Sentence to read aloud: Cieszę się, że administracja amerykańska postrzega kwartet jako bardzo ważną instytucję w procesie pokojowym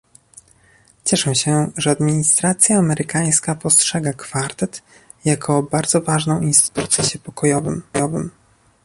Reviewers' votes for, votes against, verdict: 0, 2, rejected